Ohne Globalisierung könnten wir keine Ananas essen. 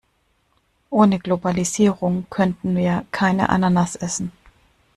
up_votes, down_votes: 2, 0